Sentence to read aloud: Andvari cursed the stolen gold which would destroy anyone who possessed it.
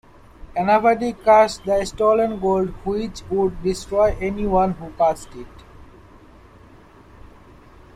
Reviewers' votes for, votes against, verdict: 0, 2, rejected